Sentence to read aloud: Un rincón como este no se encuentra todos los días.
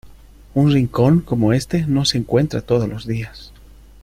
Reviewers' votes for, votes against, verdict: 2, 0, accepted